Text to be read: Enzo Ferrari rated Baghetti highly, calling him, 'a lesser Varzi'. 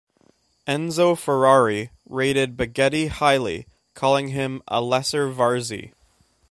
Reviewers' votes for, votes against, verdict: 2, 0, accepted